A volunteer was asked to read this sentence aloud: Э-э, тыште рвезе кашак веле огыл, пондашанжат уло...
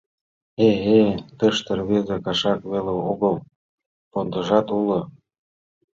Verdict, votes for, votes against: rejected, 1, 2